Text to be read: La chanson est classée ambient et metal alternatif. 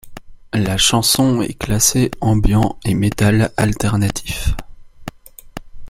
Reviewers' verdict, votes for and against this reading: accepted, 2, 1